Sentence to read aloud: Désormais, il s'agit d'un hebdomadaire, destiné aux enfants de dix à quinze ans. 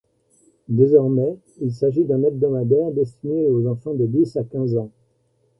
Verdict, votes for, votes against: accepted, 2, 0